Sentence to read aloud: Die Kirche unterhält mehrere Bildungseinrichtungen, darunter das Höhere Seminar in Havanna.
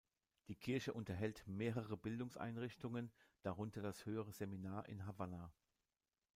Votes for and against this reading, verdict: 0, 2, rejected